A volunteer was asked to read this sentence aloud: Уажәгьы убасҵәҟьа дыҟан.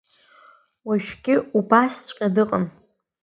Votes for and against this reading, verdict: 2, 1, accepted